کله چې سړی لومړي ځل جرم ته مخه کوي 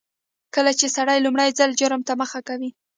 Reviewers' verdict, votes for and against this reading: accepted, 2, 1